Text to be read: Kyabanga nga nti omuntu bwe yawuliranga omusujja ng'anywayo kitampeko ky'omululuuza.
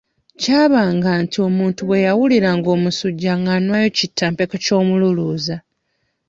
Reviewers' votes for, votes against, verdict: 1, 2, rejected